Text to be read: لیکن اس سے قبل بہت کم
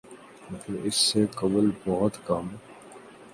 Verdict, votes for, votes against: rejected, 1, 2